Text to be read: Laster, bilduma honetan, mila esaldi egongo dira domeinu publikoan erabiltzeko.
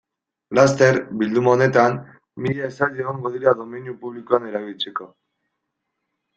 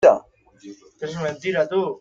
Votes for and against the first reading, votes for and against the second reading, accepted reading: 2, 0, 0, 2, first